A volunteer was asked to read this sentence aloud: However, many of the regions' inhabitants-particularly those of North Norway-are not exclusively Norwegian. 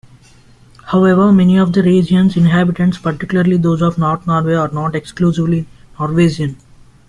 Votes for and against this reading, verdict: 0, 2, rejected